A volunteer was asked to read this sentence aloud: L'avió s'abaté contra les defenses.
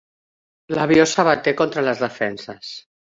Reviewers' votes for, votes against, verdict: 1, 2, rejected